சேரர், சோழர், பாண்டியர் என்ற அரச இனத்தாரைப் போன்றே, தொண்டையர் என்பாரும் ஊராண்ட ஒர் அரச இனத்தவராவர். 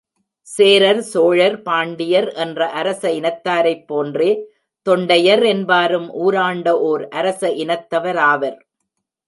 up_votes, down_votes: 2, 0